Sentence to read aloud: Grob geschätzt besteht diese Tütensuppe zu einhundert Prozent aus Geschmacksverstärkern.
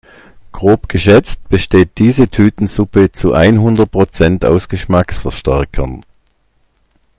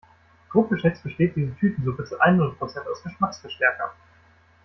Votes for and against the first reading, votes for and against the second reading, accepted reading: 2, 0, 1, 2, first